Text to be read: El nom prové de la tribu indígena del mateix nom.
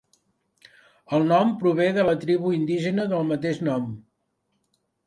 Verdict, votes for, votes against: accepted, 2, 0